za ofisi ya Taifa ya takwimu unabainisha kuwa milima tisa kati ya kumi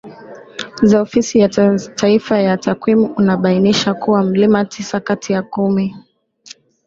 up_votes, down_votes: 0, 2